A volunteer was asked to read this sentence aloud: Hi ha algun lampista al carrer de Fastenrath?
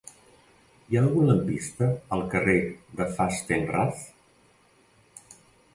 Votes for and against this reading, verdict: 2, 0, accepted